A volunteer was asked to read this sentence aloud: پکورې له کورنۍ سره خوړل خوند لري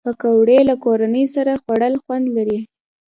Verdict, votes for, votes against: accepted, 3, 0